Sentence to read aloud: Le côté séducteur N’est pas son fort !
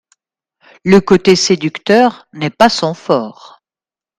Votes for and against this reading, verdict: 2, 0, accepted